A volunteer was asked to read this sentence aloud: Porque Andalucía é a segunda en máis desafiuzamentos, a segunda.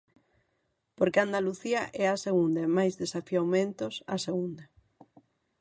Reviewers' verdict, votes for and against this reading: rejected, 0, 6